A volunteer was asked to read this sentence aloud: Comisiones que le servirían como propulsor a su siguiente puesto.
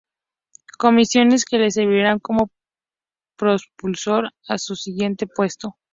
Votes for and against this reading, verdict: 0, 2, rejected